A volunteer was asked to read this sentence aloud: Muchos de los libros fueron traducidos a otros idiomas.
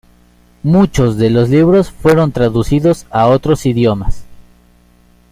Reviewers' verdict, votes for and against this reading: rejected, 1, 2